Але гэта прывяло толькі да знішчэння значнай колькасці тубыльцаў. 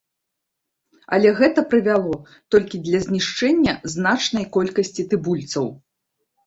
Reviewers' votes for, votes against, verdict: 0, 3, rejected